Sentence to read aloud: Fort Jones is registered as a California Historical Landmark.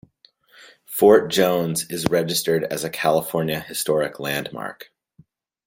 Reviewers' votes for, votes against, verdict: 1, 2, rejected